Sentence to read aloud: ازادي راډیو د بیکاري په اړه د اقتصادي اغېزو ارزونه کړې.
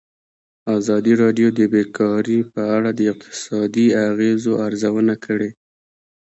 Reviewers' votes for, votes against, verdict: 2, 0, accepted